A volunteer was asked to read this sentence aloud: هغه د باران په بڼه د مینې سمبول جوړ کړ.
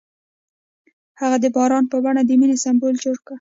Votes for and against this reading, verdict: 1, 2, rejected